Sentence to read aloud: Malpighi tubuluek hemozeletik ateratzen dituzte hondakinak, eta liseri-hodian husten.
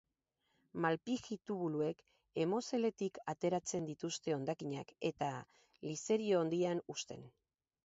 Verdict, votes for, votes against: accepted, 4, 0